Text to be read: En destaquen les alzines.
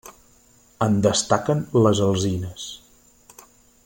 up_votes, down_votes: 3, 0